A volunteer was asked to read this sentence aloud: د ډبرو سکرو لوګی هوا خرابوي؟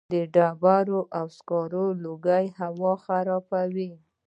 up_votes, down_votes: 1, 2